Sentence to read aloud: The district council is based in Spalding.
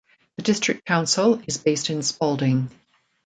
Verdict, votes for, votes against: accepted, 2, 0